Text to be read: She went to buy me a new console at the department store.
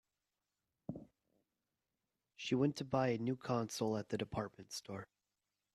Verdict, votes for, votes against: rejected, 2, 2